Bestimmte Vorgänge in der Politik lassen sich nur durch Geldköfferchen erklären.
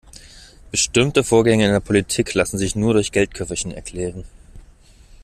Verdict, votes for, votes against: accepted, 2, 0